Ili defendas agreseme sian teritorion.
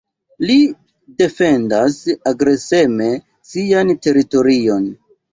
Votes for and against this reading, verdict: 1, 2, rejected